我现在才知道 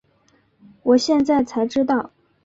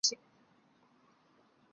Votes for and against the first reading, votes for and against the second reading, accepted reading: 3, 0, 1, 3, first